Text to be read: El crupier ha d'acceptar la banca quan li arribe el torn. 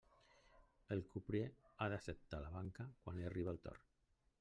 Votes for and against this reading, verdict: 2, 1, accepted